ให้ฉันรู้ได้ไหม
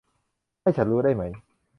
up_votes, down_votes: 2, 0